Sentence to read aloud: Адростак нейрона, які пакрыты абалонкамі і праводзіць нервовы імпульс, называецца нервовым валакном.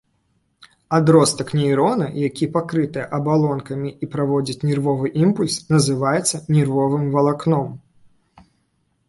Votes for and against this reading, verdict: 3, 0, accepted